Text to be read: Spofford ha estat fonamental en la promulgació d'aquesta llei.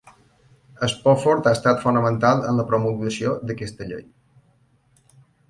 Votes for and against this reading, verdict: 2, 0, accepted